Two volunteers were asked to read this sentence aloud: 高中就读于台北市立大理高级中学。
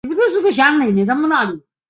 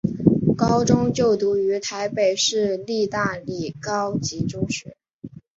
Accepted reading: second